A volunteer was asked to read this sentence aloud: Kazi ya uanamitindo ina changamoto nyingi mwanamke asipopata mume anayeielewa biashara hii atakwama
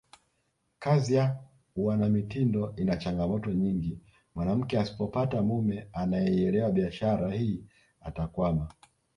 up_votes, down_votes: 2, 0